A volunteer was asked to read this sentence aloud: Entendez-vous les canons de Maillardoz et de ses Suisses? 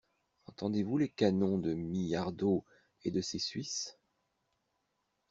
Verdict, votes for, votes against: rejected, 1, 2